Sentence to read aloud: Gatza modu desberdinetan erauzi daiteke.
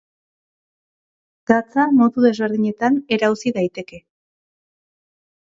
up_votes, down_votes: 2, 0